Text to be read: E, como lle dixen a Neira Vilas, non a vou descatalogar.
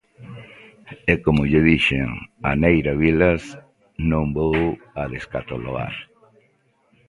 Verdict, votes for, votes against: rejected, 1, 2